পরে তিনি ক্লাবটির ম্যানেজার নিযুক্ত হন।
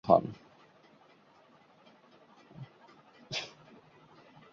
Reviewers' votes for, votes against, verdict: 0, 2, rejected